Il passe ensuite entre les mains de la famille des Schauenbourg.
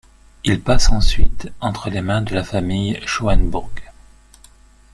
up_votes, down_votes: 0, 2